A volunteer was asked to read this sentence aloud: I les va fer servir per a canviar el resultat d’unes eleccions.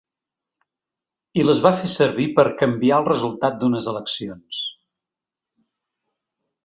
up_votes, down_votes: 1, 2